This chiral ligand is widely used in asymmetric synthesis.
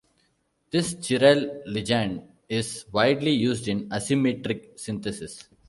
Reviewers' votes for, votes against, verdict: 0, 2, rejected